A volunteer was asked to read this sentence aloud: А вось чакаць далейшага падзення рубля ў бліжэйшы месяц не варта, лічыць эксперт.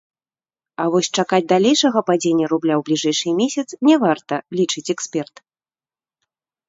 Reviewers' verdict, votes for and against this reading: rejected, 0, 2